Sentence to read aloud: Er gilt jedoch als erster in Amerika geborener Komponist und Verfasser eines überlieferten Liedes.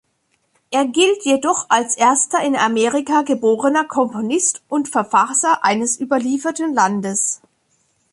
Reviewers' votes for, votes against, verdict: 0, 2, rejected